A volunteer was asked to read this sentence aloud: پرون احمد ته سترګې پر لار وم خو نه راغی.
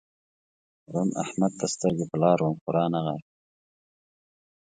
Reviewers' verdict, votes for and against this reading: rejected, 1, 2